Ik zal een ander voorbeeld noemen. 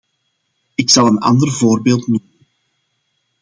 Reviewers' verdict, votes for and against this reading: rejected, 0, 2